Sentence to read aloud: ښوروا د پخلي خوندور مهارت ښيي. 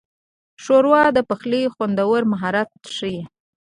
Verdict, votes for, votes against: accepted, 3, 0